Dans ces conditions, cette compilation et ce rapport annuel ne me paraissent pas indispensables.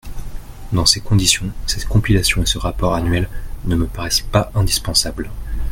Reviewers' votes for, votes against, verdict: 2, 0, accepted